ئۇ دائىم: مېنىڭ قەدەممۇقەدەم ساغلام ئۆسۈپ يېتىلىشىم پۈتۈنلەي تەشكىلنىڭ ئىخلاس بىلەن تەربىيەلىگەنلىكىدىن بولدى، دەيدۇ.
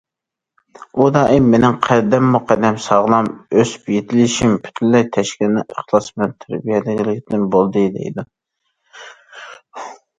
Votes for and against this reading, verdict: 0, 2, rejected